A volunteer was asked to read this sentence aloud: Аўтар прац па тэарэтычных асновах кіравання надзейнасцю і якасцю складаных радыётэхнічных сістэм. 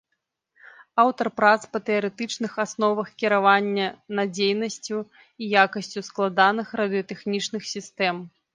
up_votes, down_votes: 2, 0